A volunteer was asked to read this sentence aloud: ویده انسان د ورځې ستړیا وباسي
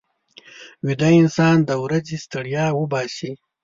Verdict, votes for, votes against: accepted, 2, 0